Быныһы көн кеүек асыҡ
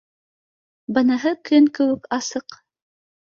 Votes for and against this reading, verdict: 2, 0, accepted